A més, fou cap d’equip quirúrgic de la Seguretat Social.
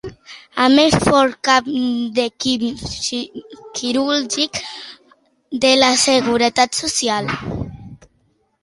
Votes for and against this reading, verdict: 1, 2, rejected